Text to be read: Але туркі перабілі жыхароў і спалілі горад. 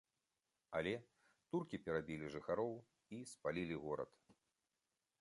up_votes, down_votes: 2, 0